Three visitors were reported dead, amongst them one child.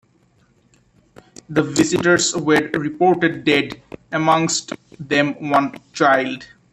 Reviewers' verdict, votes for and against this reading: rejected, 1, 2